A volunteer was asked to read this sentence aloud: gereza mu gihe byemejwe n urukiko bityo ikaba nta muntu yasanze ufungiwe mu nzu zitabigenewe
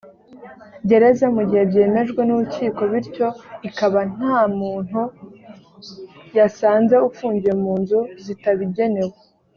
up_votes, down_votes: 2, 0